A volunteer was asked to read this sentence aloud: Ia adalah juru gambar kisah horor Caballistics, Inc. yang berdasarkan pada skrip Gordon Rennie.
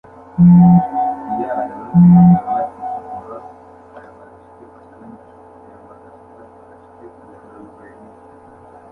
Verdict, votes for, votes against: rejected, 0, 2